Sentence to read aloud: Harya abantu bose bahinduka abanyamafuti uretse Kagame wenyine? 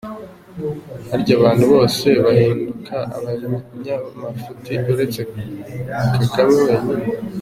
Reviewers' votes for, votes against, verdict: 1, 2, rejected